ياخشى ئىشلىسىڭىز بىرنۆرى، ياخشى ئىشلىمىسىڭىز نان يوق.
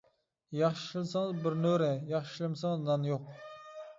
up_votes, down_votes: 1, 2